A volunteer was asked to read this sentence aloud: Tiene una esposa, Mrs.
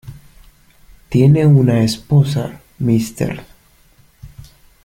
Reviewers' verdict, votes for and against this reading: accepted, 2, 0